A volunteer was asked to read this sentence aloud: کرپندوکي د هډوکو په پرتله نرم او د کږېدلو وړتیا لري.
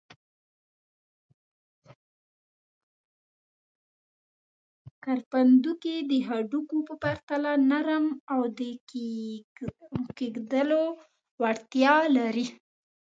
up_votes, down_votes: 2, 1